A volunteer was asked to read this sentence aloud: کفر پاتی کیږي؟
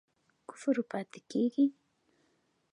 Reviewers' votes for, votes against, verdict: 2, 1, accepted